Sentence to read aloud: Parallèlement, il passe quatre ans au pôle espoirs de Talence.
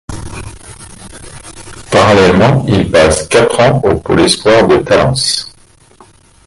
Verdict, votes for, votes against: accepted, 2, 1